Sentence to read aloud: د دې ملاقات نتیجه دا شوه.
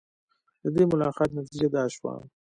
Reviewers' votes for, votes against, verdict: 0, 2, rejected